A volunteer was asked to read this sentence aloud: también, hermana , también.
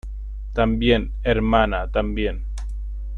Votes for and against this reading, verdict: 2, 0, accepted